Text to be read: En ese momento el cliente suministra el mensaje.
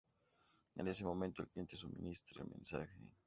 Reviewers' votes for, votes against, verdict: 2, 0, accepted